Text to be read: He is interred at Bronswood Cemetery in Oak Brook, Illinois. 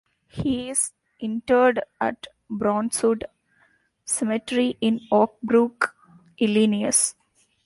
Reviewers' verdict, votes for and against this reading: rejected, 0, 2